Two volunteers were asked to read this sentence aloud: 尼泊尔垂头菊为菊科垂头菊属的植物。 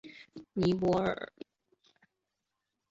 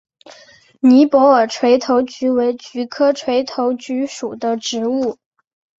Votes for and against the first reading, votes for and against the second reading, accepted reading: 0, 2, 2, 0, second